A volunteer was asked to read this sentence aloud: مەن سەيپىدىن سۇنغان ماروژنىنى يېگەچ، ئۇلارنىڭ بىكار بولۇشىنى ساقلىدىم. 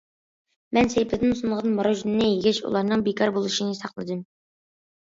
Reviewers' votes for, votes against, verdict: 2, 0, accepted